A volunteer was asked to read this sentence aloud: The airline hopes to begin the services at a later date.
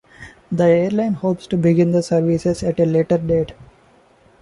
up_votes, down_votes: 0, 2